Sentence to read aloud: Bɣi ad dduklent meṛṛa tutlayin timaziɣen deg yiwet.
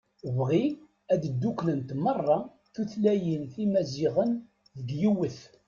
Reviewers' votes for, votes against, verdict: 1, 2, rejected